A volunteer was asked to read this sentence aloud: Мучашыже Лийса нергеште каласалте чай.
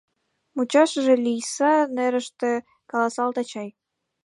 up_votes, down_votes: 3, 4